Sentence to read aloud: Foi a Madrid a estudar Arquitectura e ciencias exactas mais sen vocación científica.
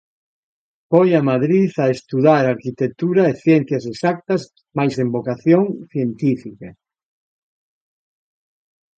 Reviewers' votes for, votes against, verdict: 2, 0, accepted